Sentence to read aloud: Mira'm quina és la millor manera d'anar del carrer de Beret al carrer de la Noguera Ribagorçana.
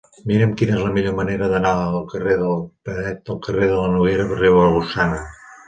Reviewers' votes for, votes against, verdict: 2, 0, accepted